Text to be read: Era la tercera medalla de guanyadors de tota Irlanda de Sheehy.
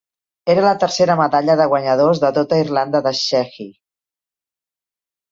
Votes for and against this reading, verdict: 2, 1, accepted